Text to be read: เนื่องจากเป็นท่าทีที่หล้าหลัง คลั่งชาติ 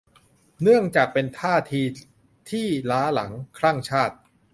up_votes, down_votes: 2, 2